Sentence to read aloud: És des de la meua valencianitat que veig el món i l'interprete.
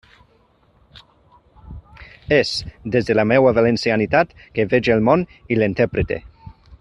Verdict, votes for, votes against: rejected, 1, 2